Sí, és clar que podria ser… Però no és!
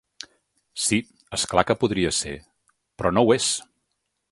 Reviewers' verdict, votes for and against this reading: rejected, 0, 2